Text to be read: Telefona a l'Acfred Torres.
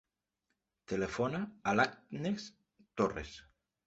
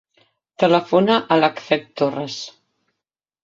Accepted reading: second